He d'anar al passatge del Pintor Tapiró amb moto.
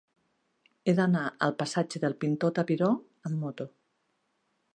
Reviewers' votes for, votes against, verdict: 3, 1, accepted